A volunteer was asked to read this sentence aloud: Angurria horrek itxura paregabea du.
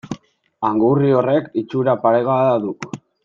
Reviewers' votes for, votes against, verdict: 1, 2, rejected